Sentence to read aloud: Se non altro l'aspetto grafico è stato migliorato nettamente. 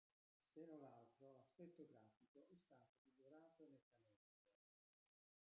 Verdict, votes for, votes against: rejected, 0, 2